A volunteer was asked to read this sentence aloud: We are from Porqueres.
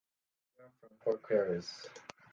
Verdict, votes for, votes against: rejected, 0, 2